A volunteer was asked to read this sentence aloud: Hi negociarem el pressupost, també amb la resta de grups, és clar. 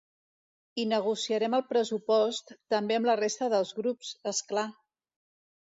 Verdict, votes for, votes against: rejected, 1, 2